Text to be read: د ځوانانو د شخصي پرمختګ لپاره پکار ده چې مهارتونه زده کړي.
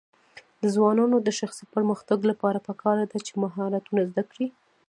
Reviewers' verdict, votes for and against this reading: accepted, 2, 0